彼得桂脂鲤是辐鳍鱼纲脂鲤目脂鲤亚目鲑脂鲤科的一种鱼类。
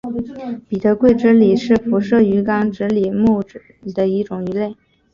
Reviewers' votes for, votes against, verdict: 3, 2, accepted